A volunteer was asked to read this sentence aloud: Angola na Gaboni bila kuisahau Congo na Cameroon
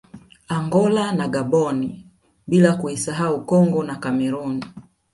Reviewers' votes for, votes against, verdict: 2, 0, accepted